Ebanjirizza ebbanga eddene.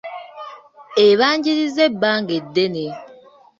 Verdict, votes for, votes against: accepted, 2, 0